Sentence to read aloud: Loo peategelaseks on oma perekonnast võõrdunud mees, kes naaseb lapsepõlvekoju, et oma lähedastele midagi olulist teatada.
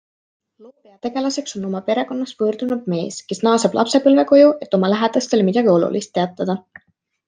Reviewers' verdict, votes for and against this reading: accepted, 2, 0